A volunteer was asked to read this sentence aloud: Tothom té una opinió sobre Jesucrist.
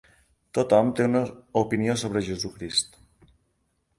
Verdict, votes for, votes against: accepted, 3, 1